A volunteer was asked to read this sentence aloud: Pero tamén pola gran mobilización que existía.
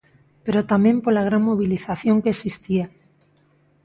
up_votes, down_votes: 2, 0